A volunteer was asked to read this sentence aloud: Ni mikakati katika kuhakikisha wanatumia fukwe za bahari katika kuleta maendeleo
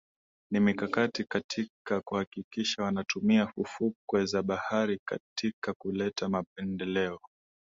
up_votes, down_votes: 2, 0